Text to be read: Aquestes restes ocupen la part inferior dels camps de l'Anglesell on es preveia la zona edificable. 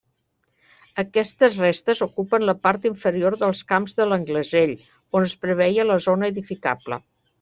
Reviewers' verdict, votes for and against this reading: accepted, 3, 0